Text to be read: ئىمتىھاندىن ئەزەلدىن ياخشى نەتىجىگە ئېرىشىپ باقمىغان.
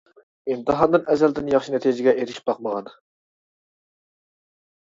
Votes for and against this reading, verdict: 2, 0, accepted